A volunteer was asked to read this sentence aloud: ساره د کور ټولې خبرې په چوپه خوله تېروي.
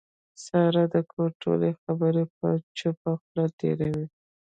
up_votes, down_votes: 1, 2